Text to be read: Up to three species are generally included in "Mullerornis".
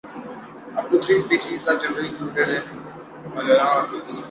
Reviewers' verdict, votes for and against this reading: rejected, 1, 2